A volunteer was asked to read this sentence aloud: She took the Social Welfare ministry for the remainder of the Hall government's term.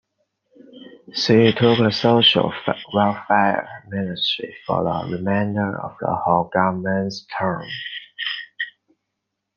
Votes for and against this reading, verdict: 1, 2, rejected